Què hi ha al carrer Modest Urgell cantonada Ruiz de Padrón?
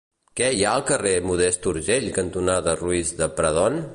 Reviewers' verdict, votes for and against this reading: rejected, 0, 2